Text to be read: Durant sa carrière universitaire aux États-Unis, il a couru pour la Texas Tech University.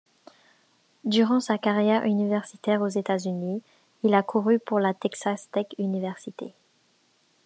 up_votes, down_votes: 0, 2